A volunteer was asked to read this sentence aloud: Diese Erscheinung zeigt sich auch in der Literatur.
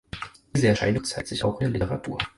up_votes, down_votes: 2, 4